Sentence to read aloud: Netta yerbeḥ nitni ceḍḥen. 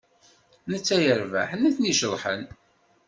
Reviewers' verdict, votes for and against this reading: accepted, 2, 0